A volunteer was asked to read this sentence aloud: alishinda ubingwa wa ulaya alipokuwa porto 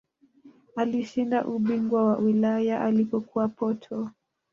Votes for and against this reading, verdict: 0, 2, rejected